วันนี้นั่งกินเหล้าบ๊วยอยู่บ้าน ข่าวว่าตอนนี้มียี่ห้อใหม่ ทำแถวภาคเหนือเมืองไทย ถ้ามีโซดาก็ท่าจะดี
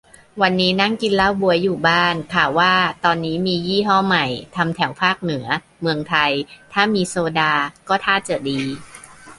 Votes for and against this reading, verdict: 2, 0, accepted